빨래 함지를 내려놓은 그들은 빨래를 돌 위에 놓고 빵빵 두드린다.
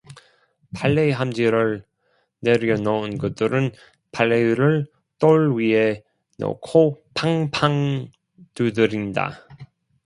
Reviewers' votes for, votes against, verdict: 0, 2, rejected